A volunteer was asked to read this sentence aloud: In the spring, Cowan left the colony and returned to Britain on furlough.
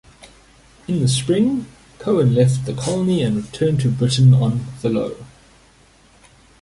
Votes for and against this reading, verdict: 1, 2, rejected